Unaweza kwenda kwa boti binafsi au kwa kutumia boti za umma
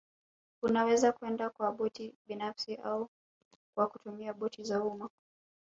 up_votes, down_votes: 2, 0